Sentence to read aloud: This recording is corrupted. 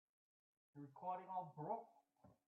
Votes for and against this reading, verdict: 0, 3, rejected